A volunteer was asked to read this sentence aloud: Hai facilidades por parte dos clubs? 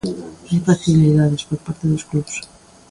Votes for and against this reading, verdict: 2, 1, accepted